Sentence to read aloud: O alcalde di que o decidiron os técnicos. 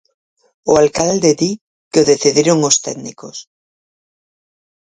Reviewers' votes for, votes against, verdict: 4, 0, accepted